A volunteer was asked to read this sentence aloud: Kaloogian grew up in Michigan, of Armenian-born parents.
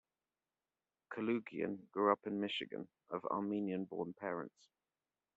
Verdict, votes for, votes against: accepted, 2, 0